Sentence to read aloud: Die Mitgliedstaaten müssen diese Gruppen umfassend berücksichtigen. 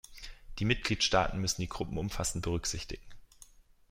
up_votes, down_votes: 0, 2